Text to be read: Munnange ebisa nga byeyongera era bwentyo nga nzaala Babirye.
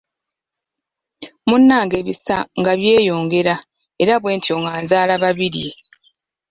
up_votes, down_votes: 2, 0